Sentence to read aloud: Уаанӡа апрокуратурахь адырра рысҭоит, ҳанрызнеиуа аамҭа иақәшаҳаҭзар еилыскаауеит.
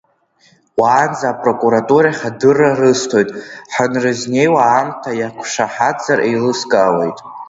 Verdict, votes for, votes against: accepted, 2, 0